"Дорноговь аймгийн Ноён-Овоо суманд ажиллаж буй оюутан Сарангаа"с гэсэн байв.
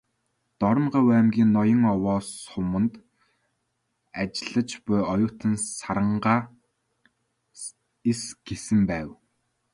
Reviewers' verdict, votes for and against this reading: rejected, 1, 2